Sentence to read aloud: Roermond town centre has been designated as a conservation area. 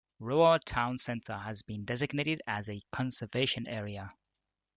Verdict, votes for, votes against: rejected, 1, 2